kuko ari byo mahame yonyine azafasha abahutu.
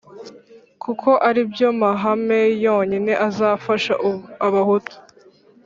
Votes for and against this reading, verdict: 3, 4, rejected